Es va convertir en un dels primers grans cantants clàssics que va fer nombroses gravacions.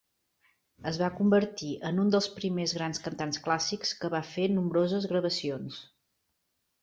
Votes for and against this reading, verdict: 3, 0, accepted